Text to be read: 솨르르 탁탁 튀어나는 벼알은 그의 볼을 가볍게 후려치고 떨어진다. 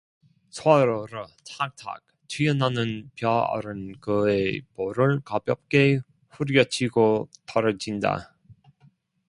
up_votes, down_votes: 0, 2